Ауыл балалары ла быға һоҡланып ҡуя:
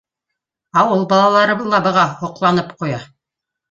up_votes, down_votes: 1, 2